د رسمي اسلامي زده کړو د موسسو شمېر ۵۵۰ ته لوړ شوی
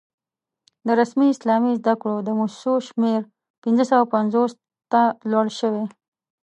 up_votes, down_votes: 0, 2